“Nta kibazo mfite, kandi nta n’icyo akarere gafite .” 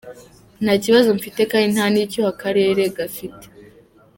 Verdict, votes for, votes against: accepted, 2, 0